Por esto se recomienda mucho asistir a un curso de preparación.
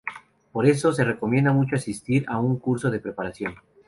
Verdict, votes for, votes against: rejected, 0, 2